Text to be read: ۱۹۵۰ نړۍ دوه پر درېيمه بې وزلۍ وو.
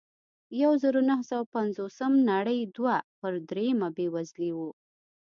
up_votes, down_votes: 0, 2